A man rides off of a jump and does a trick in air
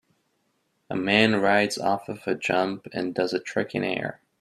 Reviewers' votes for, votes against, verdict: 2, 0, accepted